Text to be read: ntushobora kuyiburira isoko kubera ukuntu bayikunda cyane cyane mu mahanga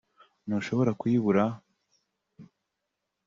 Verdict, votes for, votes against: rejected, 0, 3